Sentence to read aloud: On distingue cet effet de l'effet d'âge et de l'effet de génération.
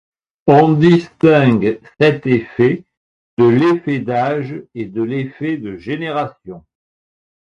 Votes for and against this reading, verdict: 2, 0, accepted